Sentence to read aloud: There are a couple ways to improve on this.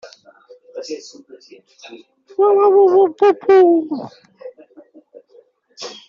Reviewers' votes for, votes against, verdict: 0, 2, rejected